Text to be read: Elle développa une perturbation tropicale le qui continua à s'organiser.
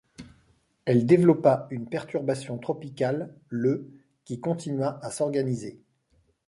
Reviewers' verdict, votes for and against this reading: accepted, 2, 0